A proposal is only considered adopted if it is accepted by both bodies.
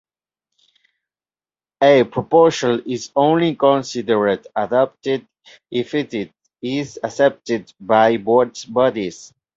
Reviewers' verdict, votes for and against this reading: rejected, 1, 2